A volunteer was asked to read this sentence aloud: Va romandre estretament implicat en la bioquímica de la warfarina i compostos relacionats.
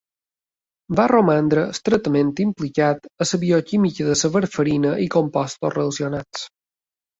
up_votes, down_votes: 3, 2